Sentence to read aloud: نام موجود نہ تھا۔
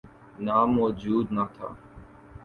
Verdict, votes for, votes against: accepted, 2, 0